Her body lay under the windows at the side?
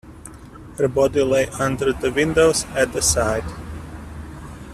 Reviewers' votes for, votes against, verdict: 2, 0, accepted